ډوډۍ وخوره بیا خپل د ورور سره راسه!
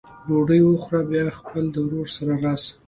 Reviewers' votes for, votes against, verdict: 2, 0, accepted